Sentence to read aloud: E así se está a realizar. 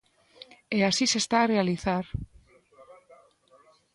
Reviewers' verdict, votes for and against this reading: rejected, 1, 2